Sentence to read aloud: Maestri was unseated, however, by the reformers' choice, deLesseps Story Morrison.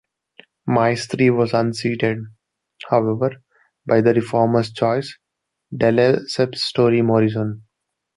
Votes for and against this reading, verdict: 0, 2, rejected